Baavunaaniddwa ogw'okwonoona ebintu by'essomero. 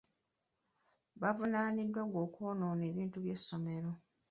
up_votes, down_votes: 2, 1